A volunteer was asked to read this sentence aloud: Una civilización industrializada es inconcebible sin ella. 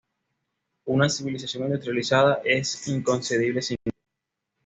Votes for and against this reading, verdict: 2, 0, accepted